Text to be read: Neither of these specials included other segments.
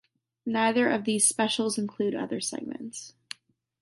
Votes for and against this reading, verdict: 0, 2, rejected